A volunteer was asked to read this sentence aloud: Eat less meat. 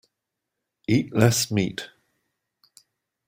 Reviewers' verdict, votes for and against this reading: accepted, 2, 0